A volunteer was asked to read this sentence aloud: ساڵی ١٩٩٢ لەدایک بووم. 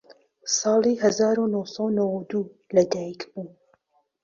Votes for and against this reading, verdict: 0, 2, rejected